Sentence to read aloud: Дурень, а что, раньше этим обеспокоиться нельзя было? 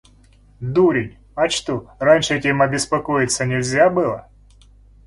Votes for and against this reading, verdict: 2, 0, accepted